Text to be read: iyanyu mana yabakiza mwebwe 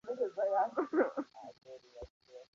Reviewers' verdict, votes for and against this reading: rejected, 0, 2